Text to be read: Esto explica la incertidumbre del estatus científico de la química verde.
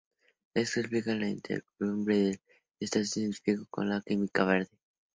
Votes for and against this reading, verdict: 0, 2, rejected